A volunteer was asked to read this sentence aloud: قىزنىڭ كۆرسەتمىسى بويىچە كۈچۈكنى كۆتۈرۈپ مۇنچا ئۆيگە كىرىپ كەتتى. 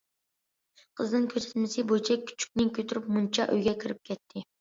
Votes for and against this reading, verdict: 2, 0, accepted